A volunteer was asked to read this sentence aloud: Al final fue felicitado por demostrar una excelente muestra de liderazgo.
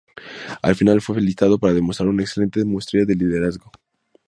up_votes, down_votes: 2, 0